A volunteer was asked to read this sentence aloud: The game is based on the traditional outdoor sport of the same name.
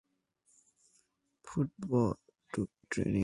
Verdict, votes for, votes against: rejected, 0, 2